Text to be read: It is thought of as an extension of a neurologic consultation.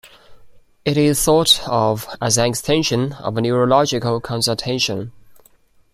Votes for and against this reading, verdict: 2, 0, accepted